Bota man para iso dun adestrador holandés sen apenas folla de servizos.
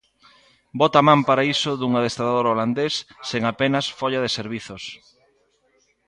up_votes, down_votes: 2, 0